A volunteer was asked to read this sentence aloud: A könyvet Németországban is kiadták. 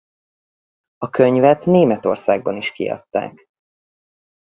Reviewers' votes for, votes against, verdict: 2, 0, accepted